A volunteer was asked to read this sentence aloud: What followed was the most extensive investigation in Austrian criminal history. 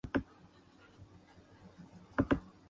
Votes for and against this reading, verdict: 0, 2, rejected